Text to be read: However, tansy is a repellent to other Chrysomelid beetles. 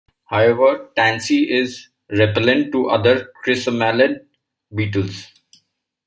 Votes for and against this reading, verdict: 2, 1, accepted